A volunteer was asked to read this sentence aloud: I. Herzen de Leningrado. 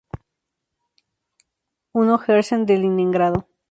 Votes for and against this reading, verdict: 0, 2, rejected